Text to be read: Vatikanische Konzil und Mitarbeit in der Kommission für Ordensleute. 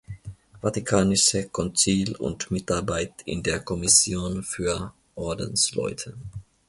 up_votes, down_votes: 2, 1